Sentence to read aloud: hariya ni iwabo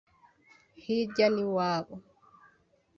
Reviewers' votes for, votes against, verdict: 2, 5, rejected